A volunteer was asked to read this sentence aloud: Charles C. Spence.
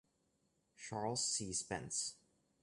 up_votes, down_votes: 0, 2